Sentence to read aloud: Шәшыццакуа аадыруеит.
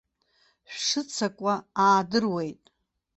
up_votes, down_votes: 2, 0